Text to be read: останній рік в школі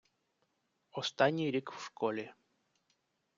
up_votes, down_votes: 1, 2